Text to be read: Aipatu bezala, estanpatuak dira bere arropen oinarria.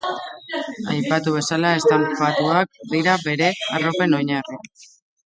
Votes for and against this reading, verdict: 1, 2, rejected